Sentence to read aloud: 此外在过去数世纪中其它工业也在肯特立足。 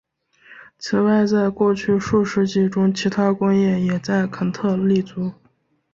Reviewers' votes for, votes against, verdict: 3, 0, accepted